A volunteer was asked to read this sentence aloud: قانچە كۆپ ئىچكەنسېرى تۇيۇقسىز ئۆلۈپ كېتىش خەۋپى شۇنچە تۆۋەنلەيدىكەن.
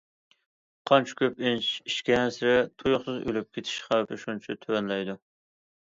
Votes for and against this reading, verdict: 0, 2, rejected